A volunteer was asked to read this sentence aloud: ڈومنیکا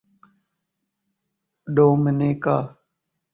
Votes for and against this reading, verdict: 13, 2, accepted